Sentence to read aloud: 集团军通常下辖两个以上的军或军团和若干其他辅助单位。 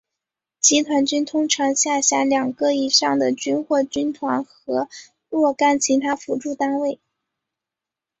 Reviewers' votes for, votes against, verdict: 0, 2, rejected